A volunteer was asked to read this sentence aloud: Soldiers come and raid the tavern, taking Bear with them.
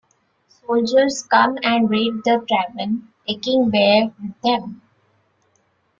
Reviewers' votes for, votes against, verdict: 2, 0, accepted